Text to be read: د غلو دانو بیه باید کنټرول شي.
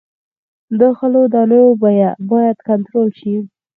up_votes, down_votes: 4, 0